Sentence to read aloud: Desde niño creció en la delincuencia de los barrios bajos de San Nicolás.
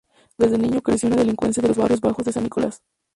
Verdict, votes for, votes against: rejected, 0, 2